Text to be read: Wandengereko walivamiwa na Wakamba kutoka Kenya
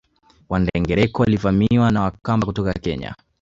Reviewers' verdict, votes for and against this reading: accepted, 2, 1